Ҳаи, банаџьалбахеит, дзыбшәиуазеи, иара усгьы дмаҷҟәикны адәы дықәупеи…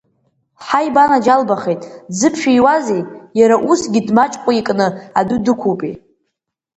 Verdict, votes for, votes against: rejected, 0, 2